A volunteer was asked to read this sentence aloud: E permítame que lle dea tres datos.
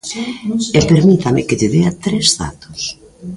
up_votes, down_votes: 1, 2